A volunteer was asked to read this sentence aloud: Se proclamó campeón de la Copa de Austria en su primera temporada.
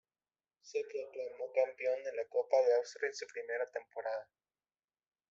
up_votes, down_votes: 0, 2